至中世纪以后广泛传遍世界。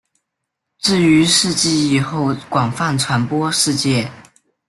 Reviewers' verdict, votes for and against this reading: rejected, 1, 2